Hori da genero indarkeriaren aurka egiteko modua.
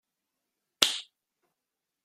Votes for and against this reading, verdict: 0, 2, rejected